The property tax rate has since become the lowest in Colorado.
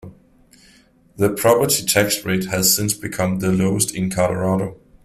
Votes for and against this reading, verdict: 2, 0, accepted